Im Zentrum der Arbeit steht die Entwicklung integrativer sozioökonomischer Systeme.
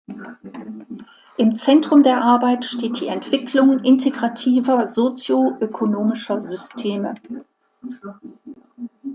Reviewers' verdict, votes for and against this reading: accepted, 2, 0